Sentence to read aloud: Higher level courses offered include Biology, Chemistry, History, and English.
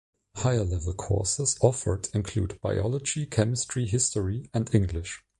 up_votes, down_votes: 2, 0